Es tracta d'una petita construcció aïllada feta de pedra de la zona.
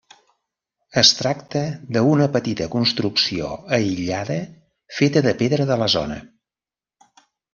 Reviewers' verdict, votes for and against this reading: rejected, 1, 2